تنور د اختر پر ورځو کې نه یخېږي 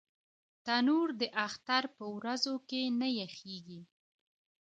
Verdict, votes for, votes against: rejected, 1, 2